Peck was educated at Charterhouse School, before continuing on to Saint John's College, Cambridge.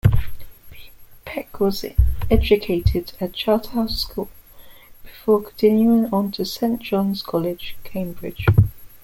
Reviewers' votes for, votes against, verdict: 2, 0, accepted